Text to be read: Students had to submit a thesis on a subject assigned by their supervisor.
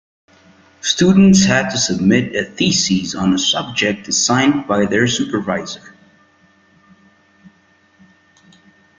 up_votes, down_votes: 2, 0